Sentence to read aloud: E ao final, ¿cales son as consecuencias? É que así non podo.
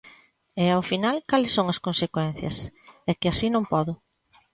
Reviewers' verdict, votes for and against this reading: accepted, 2, 0